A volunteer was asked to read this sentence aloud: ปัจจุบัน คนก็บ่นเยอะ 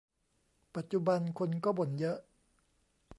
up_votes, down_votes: 2, 0